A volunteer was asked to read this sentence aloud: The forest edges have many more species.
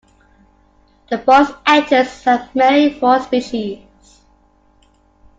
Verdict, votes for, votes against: rejected, 0, 2